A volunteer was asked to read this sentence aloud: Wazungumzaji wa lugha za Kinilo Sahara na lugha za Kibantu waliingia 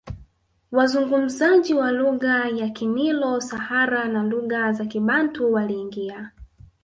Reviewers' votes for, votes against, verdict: 1, 2, rejected